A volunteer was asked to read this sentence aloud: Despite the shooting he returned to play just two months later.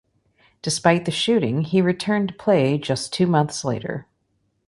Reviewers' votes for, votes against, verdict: 2, 1, accepted